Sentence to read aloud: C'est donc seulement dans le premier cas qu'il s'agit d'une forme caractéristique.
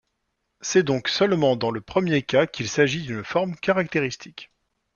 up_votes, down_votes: 2, 0